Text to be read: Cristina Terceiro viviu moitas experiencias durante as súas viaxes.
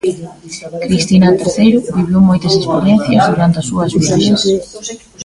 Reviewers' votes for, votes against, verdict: 2, 1, accepted